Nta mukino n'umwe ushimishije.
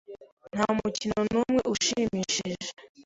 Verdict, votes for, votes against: accepted, 2, 0